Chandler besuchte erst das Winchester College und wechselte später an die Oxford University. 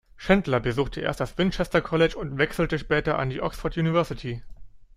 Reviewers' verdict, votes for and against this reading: accepted, 2, 0